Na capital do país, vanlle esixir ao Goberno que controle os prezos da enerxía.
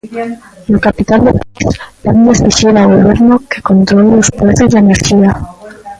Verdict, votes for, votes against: rejected, 0, 2